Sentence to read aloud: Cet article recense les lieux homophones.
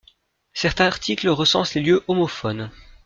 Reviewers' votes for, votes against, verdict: 2, 1, accepted